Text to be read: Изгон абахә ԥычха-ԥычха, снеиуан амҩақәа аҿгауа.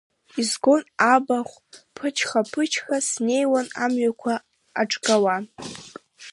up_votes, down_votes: 0, 2